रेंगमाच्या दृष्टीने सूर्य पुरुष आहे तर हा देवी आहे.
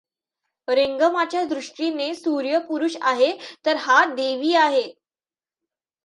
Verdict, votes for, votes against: accepted, 2, 0